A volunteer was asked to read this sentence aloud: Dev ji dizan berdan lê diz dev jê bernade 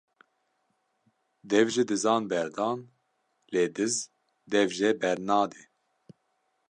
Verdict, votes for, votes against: accepted, 2, 0